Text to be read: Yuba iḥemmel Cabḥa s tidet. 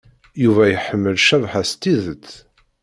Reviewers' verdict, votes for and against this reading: accepted, 2, 0